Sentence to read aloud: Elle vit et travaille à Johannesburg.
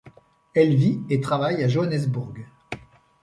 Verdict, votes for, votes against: accepted, 2, 0